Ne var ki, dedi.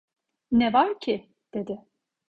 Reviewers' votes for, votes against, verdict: 2, 0, accepted